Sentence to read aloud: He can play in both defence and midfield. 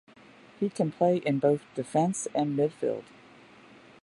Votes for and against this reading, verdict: 2, 0, accepted